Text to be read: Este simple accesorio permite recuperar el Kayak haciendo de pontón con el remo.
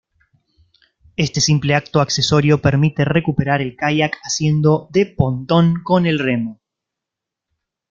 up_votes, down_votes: 1, 2